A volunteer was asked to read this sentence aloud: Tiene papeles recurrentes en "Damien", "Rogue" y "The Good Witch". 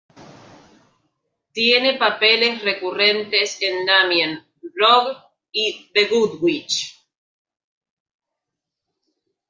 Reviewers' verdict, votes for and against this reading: rejected, 1, 2